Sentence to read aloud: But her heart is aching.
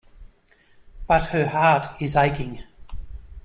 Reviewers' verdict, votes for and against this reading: accepted, 2, 0